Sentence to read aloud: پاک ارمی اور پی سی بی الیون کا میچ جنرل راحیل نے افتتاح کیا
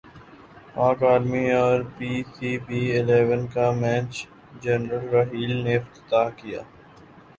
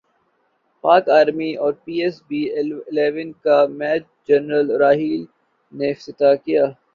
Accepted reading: first